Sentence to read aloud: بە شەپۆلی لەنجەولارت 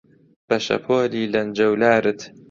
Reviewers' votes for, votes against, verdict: 2, 0, accepted